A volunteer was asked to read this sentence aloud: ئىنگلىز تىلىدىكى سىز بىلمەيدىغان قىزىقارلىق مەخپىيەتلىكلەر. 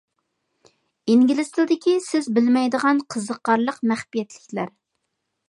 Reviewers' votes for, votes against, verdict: 2, 0, accepted